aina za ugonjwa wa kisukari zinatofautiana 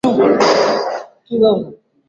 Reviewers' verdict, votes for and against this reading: rejected, 0, 2